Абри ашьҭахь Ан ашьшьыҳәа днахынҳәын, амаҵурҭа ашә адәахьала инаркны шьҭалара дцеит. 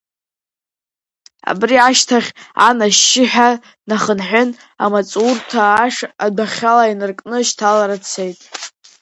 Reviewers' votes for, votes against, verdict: 2, 0, accepted